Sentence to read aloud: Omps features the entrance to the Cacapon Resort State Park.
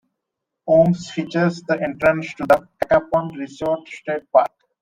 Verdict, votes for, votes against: rejected, 0, 2